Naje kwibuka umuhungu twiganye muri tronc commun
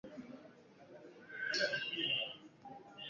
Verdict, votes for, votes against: rejected, 0, 2